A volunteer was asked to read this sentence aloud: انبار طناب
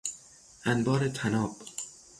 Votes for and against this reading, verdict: 6, 0, accepted